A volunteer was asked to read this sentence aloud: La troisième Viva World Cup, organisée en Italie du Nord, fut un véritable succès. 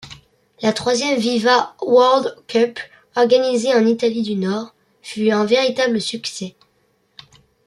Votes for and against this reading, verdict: 3, 0, accepted